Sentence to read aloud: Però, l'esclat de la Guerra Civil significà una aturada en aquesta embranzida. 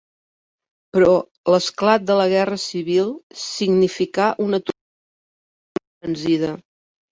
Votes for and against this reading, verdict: 0, 2, rejected